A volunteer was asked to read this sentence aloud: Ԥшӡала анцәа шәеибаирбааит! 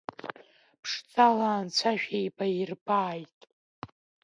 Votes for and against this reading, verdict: 1, 2, rejected